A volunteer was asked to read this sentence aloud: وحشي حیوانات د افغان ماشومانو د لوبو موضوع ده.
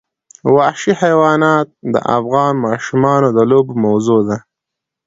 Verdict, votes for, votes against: accepted, 2, 0